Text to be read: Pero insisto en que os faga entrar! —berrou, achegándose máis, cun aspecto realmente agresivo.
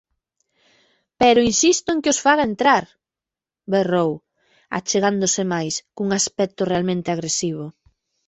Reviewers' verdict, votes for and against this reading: accepted, 2, 0